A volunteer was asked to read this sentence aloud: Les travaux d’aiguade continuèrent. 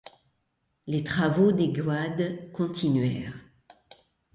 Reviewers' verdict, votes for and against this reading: rejected, 1, 2